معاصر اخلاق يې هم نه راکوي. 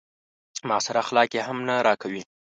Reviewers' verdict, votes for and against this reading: accepted, 2, 0